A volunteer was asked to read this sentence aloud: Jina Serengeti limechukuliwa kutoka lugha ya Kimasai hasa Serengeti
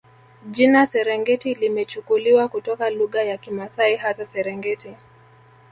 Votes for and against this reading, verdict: 2, 1, accepted